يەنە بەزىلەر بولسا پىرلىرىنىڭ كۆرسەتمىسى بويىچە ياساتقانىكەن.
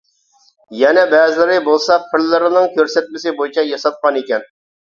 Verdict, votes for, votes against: rejected, 0, 2